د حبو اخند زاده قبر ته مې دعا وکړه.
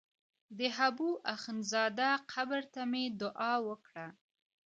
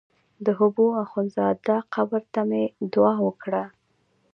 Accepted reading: second